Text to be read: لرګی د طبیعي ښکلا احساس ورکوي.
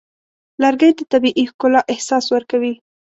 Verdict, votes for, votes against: accepted, 2, 0